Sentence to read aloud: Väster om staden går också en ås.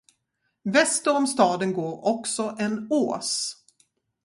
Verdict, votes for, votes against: accepted, 4, 0